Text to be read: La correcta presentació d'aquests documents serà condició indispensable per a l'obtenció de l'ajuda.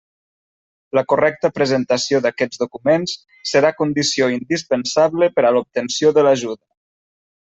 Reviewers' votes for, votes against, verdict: 1, 2, rejected